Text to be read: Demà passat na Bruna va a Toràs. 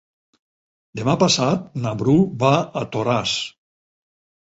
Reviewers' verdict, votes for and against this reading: rejected, 0, 4